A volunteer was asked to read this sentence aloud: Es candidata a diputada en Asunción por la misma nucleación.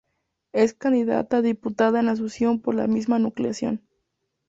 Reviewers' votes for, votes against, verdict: 2, 0, accepted